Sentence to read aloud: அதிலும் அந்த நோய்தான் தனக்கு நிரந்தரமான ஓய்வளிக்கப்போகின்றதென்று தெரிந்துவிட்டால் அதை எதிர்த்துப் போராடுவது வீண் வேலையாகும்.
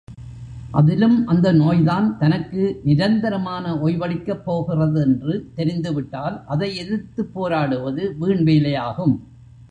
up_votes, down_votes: 1, 2